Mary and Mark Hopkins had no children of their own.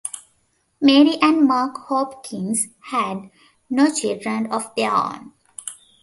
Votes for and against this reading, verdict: 2, 0, accepted